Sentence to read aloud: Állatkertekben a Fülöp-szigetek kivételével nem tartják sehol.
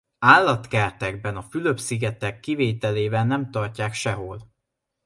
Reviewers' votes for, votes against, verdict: 2, 0, accepted